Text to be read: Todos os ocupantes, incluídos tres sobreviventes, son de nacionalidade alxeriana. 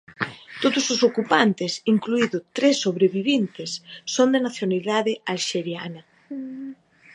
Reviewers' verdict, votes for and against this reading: rejected, 1, 2